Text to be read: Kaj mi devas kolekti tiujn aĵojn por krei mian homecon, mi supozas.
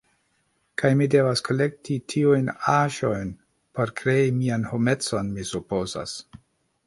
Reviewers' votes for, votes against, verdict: 2, 0, accepted